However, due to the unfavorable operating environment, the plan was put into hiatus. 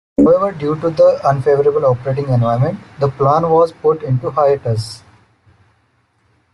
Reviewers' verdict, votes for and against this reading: rejected, 1, 2